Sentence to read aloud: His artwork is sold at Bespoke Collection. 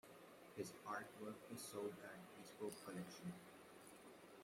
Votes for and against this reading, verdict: 2, 0, accepted